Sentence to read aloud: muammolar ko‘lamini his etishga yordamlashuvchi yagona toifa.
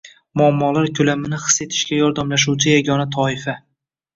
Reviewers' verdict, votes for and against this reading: rejected, 0, 2